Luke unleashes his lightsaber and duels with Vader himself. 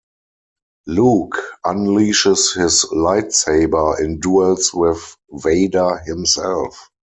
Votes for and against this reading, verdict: 4, 0, accepted